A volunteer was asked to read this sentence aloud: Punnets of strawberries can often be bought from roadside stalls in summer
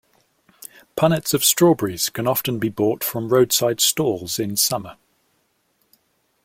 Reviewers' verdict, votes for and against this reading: accepted, 2, 0